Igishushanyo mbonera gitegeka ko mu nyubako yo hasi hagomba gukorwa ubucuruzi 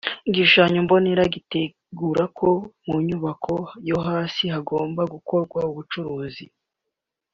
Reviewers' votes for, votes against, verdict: 2, 1, accepted